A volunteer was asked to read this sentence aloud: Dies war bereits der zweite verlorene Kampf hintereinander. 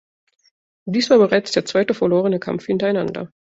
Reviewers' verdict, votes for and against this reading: accepted, 2, 0